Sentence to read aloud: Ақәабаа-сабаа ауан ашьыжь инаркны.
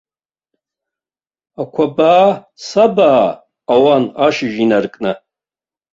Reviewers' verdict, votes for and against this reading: rejected, 0, 2